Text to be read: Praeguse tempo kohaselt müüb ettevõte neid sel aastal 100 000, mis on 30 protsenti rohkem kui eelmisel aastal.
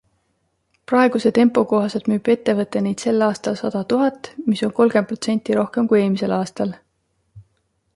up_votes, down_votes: 0, 2